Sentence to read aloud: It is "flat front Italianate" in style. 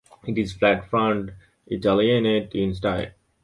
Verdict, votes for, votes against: accepted, 2, 0